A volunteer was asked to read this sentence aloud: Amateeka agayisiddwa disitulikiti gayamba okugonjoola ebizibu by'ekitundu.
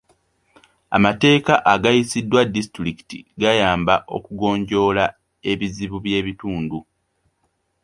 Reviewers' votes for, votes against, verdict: 0, 2, rejected